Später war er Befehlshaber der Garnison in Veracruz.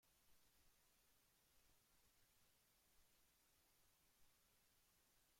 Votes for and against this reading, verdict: 0, 2, rejected